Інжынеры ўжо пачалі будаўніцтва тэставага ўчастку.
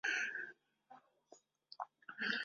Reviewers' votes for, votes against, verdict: 0, 2, rejected